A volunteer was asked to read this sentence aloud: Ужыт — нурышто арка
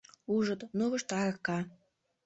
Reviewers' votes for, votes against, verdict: 0, 2, rejected